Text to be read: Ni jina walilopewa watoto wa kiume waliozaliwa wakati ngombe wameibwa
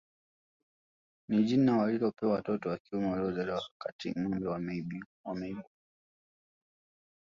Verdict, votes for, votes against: rejected, 1, 2